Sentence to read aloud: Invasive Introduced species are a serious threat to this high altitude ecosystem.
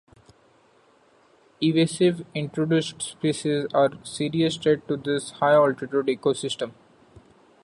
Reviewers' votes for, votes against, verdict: 1, 2, rejected